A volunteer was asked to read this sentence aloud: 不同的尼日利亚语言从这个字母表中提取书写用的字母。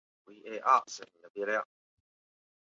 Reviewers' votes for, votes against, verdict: 0, 2, rejected